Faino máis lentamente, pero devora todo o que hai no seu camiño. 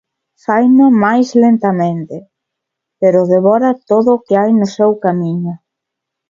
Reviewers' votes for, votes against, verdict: 2, 0, accepted